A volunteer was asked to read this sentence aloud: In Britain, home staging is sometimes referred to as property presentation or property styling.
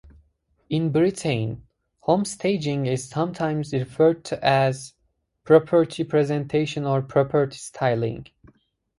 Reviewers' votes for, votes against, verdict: 2, 2, rejected